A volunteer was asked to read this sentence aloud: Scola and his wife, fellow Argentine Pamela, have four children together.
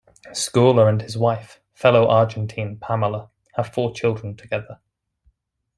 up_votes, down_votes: 2, 0